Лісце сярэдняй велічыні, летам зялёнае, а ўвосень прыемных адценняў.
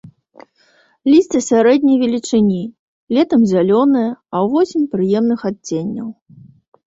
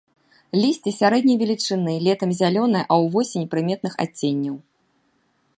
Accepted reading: first